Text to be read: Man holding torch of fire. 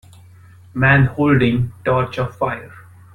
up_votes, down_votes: 1, 2